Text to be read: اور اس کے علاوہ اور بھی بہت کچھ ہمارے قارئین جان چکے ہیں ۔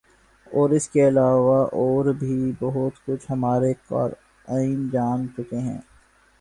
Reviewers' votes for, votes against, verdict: 4, 2, accepted